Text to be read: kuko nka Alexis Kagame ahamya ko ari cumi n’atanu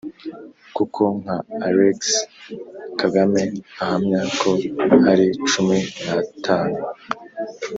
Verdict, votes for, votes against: accepted, 2, 0